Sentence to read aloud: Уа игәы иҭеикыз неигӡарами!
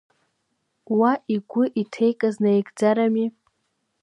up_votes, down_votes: 2, 0